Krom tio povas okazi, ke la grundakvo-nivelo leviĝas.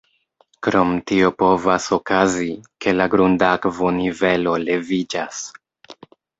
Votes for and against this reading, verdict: 1, 2, rejected